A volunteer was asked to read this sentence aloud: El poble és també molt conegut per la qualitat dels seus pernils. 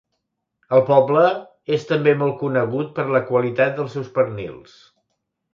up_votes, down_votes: 3, 0